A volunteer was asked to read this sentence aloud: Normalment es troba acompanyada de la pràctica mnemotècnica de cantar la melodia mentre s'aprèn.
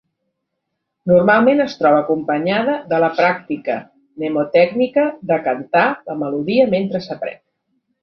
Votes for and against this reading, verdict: 3, 0, accepted